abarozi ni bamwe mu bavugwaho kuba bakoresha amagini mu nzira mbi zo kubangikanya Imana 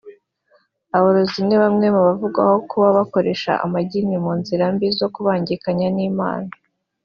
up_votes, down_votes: 3, 1